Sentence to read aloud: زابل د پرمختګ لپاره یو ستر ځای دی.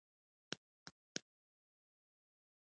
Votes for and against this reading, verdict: 0, 2, rejected